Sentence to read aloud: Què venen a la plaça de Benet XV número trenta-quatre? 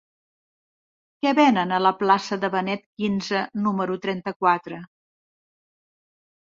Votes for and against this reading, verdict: 2, 0, accepted